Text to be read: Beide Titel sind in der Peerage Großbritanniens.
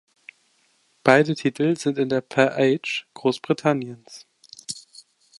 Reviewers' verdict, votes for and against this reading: rejected, 1, 2